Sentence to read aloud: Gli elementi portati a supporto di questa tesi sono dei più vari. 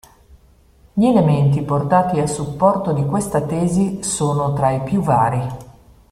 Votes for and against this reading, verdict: 1, 2, rejected